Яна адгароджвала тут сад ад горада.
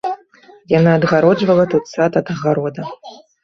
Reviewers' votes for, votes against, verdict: 1, 2, rejected